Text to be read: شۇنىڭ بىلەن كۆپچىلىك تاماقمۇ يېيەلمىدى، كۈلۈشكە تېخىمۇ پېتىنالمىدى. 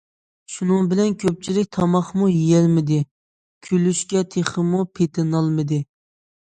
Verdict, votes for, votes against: accepted, 2, 0